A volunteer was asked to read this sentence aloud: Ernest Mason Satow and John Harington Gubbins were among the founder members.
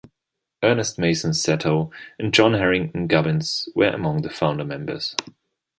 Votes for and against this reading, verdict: 2, 0, accepted